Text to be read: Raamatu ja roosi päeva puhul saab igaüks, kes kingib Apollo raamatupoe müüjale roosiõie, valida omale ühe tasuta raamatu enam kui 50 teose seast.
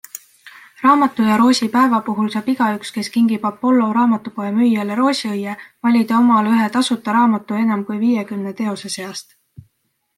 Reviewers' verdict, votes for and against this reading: rejected, 0, 2